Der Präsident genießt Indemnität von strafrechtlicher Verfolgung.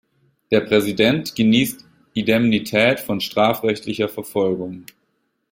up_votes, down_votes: 1, 2